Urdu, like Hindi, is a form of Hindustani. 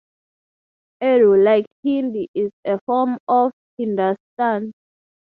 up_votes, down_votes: 0, 3